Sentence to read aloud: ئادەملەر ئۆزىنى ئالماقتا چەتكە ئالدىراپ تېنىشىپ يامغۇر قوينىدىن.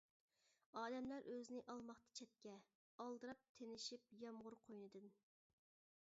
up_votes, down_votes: 1, 2